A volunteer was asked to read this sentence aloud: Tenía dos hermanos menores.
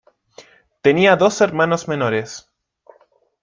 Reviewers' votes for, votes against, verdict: 2, 0, accepted